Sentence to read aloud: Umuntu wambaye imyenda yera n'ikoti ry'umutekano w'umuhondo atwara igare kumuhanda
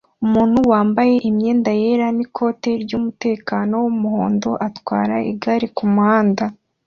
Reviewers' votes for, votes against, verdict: 3, 1, accepted